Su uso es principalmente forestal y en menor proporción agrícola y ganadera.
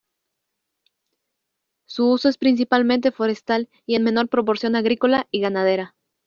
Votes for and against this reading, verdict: 2, 0, accepted